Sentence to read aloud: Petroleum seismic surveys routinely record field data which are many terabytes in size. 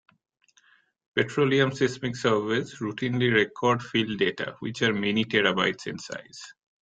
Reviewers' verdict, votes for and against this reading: rejected, 0, 2